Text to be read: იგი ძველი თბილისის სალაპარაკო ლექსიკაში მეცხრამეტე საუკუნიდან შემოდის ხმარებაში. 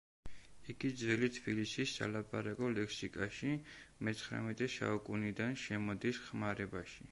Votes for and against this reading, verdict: 2, 0, accepted